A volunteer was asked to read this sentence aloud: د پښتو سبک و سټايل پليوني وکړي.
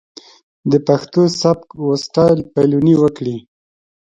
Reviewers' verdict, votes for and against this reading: accepted, 2, 0